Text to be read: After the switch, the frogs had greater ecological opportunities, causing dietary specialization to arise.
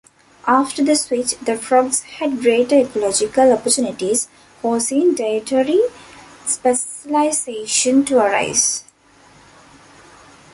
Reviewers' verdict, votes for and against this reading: rejected, 0, 2